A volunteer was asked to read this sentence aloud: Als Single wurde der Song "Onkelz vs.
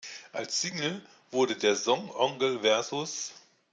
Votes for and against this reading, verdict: 0, 2, rejected